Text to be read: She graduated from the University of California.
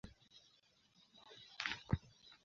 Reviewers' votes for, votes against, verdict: 0, 3, rejected